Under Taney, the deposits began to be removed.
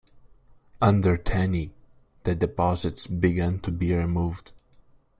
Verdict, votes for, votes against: accepted, 2, 1